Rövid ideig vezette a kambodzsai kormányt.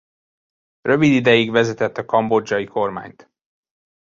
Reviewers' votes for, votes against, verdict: 0, 2, rejected